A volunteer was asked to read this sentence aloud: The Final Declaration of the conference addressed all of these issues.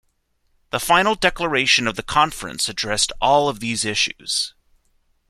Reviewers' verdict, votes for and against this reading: accepted, 2, 0